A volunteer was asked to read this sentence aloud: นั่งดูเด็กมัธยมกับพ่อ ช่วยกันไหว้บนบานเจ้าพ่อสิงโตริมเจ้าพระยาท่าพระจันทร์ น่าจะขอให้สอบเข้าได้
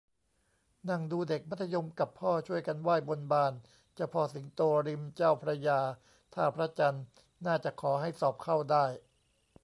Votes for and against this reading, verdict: 2, 1, accepted